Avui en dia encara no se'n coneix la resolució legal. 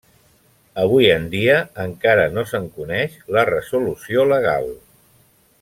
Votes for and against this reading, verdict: 3, 0, accepted